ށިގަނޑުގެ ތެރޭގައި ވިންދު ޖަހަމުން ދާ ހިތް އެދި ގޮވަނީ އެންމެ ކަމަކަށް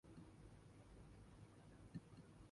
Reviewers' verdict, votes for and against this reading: rejected, 0, 2